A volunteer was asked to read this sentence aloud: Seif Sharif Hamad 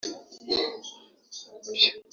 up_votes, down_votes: 0, 3